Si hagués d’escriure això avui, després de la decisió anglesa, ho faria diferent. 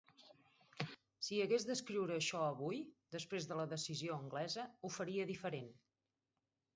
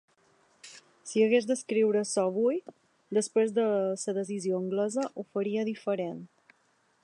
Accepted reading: first